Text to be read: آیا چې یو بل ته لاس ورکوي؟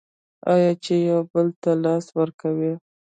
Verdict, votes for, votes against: accepted, 2, 0